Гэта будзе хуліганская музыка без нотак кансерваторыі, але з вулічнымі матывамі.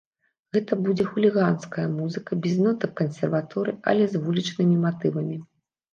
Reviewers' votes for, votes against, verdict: 0, 2, rejected